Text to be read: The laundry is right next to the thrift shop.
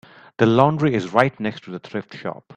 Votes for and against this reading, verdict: 4, 0, accepted